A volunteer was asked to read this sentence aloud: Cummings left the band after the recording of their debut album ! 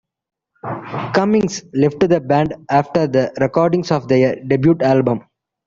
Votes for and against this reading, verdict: 2, 0, accepted